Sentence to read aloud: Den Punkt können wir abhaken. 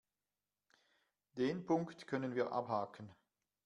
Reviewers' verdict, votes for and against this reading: accepted, 2, 0